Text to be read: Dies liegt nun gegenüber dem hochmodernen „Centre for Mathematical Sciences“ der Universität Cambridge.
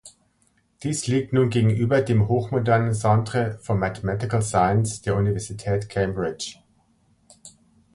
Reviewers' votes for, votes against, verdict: 1, 2, rejected